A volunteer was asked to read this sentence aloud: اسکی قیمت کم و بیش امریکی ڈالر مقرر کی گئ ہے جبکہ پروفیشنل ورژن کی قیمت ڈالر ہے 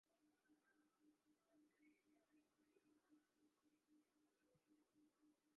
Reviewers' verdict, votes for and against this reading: rejected, 4, 6